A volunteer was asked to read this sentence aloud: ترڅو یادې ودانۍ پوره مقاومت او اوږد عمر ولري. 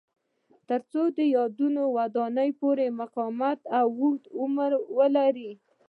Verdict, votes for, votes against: rejected, 1, 2